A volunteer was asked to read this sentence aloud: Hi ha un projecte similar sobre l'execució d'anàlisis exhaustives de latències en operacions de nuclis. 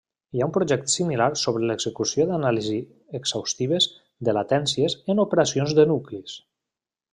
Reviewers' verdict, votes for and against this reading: rejected, 1, 2